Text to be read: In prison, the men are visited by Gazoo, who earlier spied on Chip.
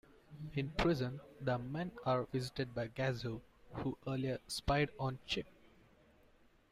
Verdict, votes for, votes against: accepted, 2, 0